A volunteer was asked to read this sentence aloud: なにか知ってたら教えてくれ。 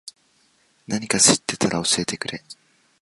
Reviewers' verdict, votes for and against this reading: accepted, 2, 0